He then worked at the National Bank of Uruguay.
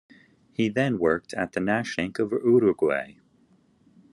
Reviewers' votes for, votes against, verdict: 0, 2, rejected